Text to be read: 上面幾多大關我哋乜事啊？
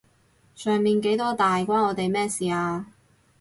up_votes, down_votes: 0, 2